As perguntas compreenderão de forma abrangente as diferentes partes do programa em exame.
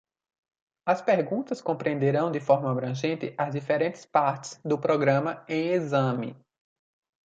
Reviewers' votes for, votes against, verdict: 2, 0, accepted